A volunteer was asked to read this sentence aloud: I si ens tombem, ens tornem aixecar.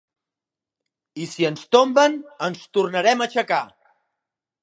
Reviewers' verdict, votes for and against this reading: rejected, 1, 2